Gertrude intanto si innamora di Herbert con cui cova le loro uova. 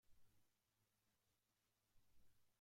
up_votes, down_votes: 0, 2